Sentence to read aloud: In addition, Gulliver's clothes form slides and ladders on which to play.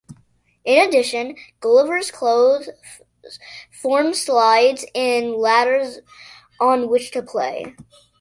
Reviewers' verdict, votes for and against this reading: accepted, 2, 0